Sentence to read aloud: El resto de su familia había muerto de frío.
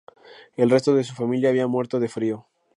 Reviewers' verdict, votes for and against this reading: accepted, 2, 0